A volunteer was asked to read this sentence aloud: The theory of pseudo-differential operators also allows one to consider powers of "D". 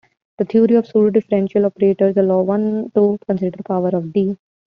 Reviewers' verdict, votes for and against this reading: rejected, 0, 2